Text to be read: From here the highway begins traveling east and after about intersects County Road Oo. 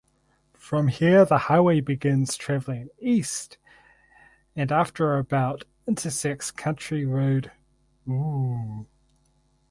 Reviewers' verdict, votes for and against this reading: rejected, 0, 2